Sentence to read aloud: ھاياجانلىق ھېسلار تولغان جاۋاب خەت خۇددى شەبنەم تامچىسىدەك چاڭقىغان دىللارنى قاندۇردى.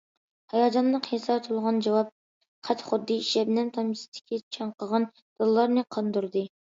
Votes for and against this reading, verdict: 0, 2, rejected